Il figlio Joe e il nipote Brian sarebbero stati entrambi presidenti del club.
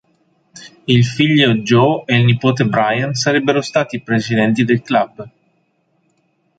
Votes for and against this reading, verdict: 0, 2, rejected